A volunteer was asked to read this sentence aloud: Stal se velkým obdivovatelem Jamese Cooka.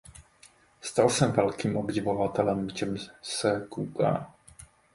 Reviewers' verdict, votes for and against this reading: rejected, 0, 3